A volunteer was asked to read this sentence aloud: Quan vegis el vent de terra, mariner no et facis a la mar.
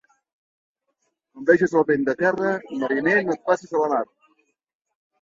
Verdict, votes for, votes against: accepted, 5, 1